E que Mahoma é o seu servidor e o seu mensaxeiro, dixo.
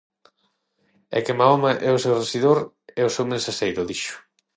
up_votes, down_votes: 0, 6